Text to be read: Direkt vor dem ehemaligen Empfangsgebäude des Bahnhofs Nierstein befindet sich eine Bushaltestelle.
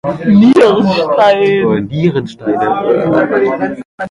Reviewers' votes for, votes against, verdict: 0, 2, rejected